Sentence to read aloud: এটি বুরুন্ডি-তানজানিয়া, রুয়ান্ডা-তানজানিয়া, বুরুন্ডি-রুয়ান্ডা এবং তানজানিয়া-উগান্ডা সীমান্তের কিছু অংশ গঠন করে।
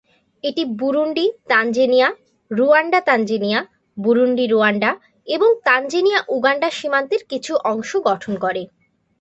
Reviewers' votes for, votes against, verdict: 2, 0, accepted